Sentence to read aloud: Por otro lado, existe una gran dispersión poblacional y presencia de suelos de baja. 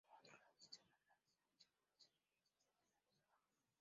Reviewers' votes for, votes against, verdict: 0, 2, rejected